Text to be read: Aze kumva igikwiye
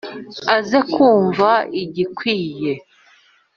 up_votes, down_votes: 2, 0